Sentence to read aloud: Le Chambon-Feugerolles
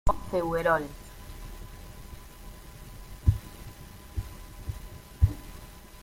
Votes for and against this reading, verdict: 0, 2, rejected